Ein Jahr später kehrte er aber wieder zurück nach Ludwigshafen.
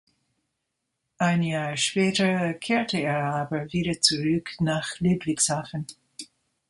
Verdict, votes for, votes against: rejected, 1, 2